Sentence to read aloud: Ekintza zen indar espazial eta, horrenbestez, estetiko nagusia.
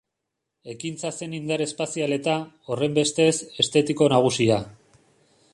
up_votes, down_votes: 2, 0